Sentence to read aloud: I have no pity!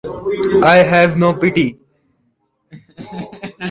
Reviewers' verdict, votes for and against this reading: rejected, 1, 2